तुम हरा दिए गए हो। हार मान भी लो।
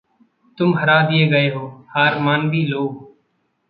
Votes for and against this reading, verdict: 2, 0, accepted